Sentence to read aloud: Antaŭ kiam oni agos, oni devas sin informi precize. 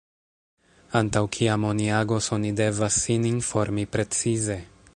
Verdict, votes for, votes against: rejected, 1, 2